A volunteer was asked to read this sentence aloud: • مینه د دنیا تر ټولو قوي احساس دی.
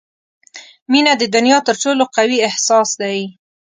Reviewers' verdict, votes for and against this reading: accepted, 2, 0